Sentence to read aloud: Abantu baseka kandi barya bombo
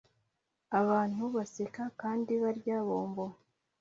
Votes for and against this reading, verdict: 2, 0, accepted